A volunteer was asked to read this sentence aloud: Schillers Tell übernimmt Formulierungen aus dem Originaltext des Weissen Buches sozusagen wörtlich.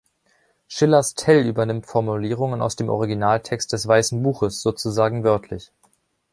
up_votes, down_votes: 2, 0